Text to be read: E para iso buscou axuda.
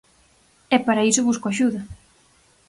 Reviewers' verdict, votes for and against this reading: rejected, 2, 4